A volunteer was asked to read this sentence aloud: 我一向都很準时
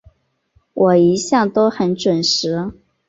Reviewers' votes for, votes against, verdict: 6, 0, accepted